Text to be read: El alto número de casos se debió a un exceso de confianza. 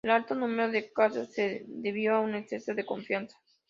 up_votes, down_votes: 3, 0